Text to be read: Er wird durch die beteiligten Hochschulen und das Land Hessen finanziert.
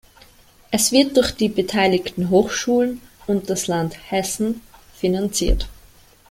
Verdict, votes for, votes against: rejected, 1, 2